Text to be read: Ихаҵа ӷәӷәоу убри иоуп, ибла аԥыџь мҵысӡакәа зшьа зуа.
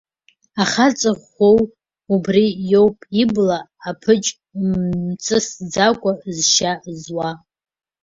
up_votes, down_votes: 0, 2